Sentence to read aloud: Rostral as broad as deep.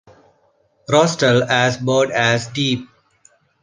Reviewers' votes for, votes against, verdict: 2, 0, accepted